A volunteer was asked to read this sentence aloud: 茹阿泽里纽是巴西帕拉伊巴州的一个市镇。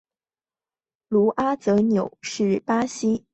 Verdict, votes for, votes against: rejected, 1, 3